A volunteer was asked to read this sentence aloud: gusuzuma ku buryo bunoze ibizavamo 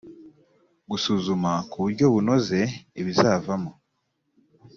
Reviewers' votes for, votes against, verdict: 2, 0, accepted